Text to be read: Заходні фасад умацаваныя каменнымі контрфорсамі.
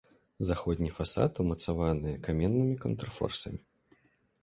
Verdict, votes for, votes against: accepted, 2, 1